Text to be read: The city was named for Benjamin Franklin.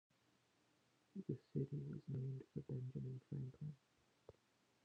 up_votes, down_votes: 1, 2